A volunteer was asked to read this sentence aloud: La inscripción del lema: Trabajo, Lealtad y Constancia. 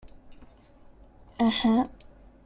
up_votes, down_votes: 0, 2